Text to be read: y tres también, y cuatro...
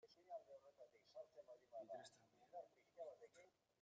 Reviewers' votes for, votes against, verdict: 0, 2, rejected